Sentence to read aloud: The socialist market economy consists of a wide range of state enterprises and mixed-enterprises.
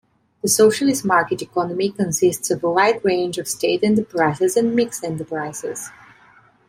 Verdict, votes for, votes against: accepted, 2, 0